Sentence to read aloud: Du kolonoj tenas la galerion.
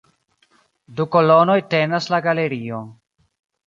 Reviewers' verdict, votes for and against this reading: accepted, 2, 1